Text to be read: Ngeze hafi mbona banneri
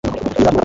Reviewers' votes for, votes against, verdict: 2, 3, rejected